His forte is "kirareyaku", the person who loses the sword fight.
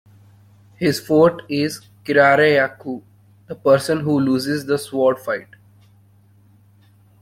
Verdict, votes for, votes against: accepted, 2, 1